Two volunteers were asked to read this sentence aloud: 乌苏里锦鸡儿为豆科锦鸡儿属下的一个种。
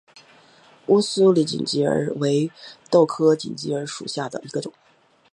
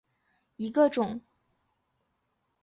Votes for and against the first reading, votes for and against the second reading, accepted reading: 10, 0, 0, 5, first